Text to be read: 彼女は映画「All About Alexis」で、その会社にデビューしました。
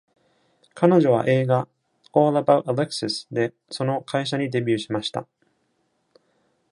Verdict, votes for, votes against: accepted, 2, 0